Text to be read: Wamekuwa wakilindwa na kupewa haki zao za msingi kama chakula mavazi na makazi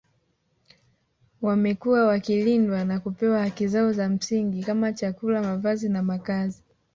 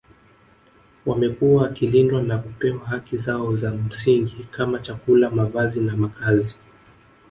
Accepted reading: first